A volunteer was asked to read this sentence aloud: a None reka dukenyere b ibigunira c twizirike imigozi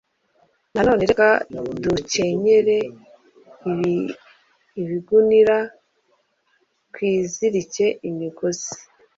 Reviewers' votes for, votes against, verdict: 1, 2, rejected